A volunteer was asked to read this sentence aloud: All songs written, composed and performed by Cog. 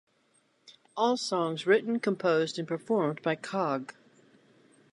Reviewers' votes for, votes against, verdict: 2, 0, accepted